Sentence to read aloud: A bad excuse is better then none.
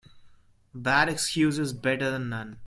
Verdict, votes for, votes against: accepted, 2, 1